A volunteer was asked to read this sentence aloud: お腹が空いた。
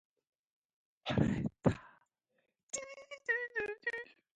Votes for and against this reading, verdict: 0, 3, rejected